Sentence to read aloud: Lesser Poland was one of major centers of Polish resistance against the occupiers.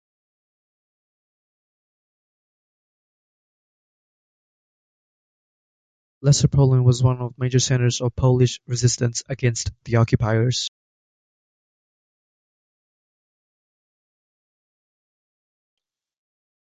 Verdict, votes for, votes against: rejected, 0, 2